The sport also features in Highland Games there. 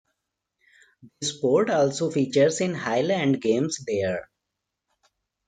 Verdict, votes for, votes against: accepted, 2, 0